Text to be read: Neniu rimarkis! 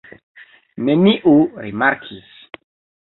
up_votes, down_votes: 2, 1